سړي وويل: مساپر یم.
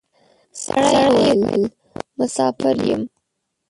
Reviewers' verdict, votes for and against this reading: rejected, 0, 2